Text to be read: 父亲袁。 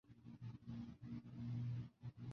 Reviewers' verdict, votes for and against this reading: rejected, 0, 2